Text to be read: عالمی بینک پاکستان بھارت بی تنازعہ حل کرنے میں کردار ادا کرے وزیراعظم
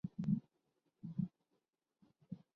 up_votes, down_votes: 0, 2